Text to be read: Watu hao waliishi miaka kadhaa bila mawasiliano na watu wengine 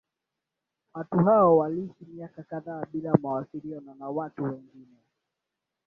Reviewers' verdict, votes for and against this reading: rejected, 0, 2